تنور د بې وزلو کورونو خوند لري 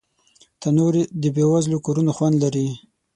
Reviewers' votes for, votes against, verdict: 6, 0, accepted